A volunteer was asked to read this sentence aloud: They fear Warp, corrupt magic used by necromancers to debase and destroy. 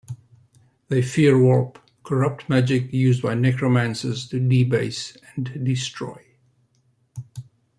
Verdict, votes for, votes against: rejected, 0, 2